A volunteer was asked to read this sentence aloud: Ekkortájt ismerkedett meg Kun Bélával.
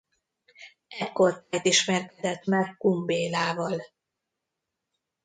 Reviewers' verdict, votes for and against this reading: rejected, 0, 2